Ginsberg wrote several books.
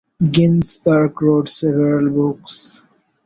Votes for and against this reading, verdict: 2, 0, accepted